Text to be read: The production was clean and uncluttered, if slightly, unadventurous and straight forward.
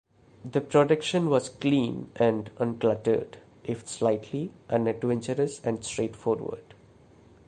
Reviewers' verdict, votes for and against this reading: accepted, 2, 0